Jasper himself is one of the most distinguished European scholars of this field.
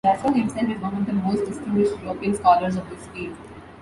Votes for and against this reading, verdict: 2, 1, accepted